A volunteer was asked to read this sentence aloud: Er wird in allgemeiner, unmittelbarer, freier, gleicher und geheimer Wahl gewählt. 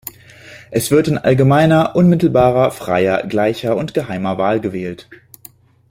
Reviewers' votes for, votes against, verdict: 1, 2, rejected